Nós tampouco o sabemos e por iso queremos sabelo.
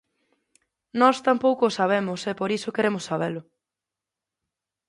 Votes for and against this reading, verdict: 2, 0, accepted